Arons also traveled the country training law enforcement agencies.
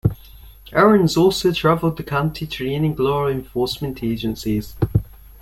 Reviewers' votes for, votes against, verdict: 0, 2, rejected